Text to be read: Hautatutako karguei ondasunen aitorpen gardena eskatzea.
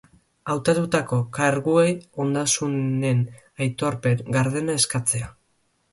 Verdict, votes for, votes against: rejected, 0, 2